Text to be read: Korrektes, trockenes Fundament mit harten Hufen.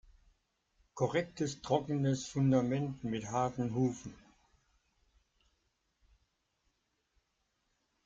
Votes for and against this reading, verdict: 2, 0, accepted